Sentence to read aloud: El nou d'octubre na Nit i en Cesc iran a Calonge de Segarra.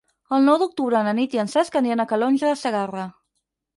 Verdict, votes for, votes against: rejected, 2, 4